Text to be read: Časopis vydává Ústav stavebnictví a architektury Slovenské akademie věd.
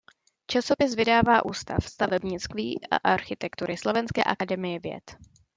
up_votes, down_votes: 0, 2